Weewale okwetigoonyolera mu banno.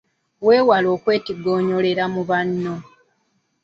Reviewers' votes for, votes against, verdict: 2, 1, accepted